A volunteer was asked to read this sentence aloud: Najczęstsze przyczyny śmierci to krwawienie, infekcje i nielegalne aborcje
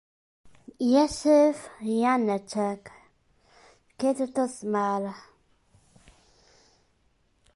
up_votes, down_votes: 0, 2